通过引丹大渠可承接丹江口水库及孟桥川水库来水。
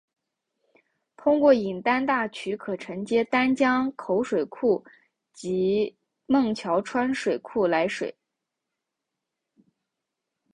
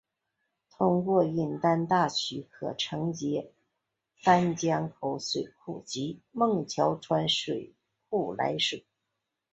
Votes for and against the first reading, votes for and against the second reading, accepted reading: 1, 2, 3, 0, second